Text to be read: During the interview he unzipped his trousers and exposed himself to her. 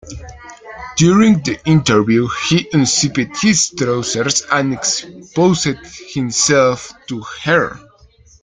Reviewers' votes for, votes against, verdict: 2, 1, accepted